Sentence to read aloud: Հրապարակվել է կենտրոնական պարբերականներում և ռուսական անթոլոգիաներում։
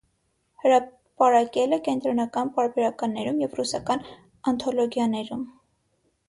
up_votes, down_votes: 0, 6